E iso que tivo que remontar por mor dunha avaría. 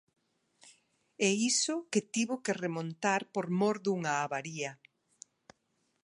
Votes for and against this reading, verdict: 2, 0, accepted